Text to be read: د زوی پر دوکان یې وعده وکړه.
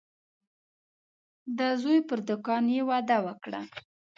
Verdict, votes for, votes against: accepted, 2, 0